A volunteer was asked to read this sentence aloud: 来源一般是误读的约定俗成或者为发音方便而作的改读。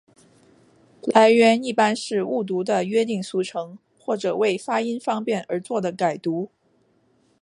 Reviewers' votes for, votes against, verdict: 2, 0, accepted